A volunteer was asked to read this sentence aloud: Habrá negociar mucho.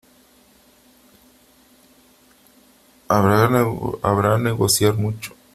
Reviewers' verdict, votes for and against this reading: rejected, 0, 3